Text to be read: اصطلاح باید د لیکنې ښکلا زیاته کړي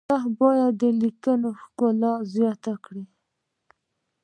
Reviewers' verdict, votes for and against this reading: rejected, 1, 2